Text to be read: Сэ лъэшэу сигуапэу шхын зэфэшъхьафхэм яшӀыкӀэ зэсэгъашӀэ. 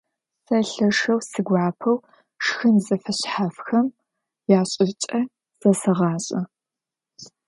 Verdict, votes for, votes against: accepted, 2, 0